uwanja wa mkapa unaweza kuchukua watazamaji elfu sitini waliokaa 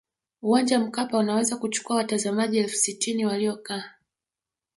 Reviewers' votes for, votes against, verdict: 2, 1, accepted